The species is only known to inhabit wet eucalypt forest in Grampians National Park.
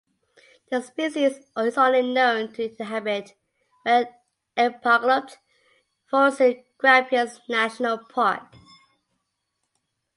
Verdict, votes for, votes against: rejected, 0, 2